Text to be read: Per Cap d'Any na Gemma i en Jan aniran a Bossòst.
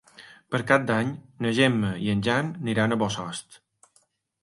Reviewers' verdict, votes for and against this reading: rejected, 1, 2